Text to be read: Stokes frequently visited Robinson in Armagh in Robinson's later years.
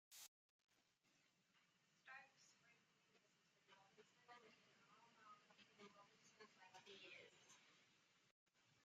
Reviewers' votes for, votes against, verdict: 0, 2, rejected